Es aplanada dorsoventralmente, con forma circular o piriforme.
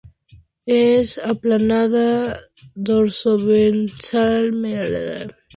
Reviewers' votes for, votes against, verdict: 0, 2, rejected